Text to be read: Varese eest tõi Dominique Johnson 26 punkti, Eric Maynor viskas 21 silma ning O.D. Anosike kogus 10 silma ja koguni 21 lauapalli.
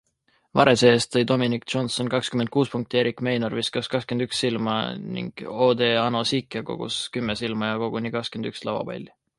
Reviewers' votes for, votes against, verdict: 0, 2, rejected